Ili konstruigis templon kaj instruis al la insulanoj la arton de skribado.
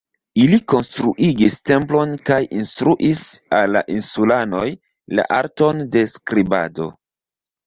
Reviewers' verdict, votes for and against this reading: rejected, 1, 2